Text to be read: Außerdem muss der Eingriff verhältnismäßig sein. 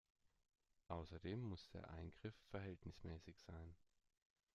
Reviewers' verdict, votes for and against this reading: rejected, 1, 2